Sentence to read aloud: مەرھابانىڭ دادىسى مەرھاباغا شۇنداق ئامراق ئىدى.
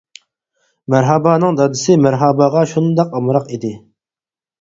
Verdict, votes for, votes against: accepted, 4, 0